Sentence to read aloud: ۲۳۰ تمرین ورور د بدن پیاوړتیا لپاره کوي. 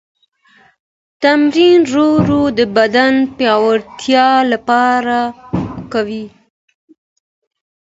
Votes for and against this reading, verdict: 0, 2, rejected